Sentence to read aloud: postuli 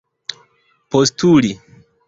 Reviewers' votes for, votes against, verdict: 2, 0, accepted